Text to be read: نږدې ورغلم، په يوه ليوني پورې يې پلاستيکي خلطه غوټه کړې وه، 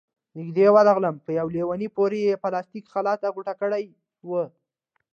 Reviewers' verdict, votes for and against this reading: rejected, 1, 2